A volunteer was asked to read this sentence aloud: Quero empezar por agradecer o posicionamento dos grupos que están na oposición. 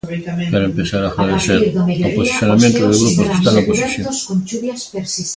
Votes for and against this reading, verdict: 0, 2, rejected